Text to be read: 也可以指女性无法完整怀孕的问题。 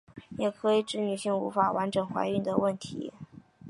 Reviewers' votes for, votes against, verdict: 2, 0, accepted